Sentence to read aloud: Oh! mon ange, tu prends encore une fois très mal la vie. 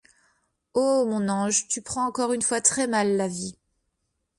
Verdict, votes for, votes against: accepted, 2, 0